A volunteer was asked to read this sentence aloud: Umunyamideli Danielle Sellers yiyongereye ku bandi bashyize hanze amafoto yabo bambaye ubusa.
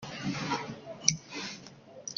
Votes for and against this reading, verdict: 0, 2, rejected